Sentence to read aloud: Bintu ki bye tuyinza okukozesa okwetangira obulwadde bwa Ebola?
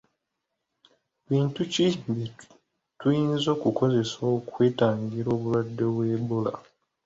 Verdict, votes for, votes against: accepted, 2, 0